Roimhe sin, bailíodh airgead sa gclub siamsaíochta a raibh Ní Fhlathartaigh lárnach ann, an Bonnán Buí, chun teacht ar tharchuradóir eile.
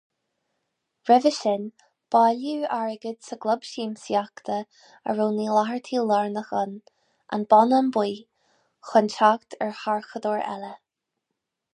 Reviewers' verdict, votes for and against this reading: rejected, 2, 2